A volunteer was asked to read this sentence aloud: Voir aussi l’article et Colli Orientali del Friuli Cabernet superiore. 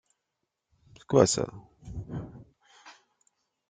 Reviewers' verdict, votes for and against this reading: rejected, 0, 2